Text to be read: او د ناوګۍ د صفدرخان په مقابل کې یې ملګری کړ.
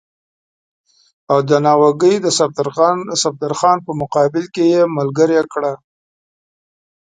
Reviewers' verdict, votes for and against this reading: accepted, 2, 0